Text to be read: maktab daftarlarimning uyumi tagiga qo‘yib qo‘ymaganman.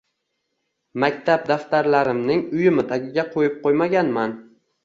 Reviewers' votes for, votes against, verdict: 2, 0, accepted